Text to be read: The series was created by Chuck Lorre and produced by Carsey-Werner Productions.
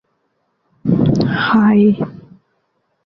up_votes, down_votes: 0, 2